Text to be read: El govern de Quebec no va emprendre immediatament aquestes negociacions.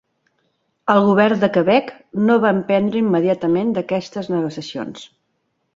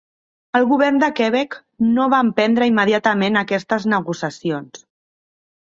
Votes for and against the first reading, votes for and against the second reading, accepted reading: 4, 1, 0, 2, first